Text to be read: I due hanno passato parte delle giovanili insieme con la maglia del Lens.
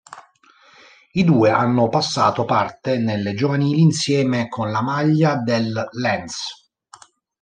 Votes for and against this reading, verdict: 0, 2, rejected